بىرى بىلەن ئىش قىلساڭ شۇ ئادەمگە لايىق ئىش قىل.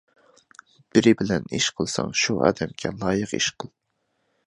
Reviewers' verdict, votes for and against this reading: accepted, 3, 0